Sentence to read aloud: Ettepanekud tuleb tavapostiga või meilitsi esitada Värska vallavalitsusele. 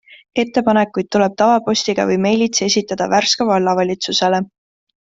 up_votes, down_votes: 2, 0